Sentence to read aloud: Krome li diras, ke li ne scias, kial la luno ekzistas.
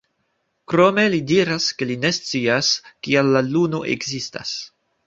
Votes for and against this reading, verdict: 2, 1, accepted